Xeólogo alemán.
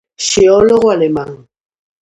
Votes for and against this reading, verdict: 2, 0, accepted